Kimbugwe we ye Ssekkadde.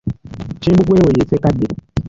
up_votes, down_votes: 1, 2